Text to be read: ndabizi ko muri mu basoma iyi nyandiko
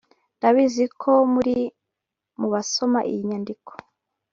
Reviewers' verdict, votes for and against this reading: accepted, 2, 1